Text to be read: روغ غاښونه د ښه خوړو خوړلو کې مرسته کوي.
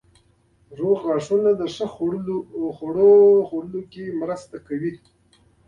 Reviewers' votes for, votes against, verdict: 2, 0, accepted